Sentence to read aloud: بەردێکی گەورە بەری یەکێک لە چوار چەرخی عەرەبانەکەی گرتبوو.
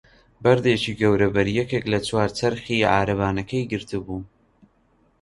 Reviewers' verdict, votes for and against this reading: accepted, 2, 0